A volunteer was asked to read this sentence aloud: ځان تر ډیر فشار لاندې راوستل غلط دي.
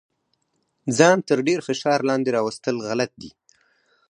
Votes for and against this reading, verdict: 4, 0, accepted